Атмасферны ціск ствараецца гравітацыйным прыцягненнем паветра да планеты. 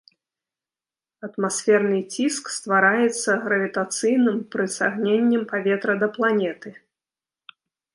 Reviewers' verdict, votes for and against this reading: rejected, 1, 2